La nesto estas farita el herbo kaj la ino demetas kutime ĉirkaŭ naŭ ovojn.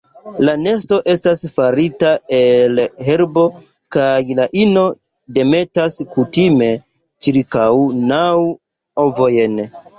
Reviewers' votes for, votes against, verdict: 2, 0, accepted